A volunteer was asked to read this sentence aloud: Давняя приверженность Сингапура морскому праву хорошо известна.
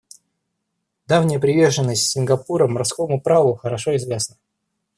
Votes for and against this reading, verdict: 2, 0, accepted